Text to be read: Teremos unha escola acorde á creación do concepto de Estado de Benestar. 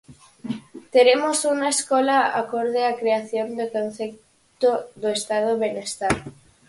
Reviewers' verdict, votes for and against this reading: rejected, 0, 4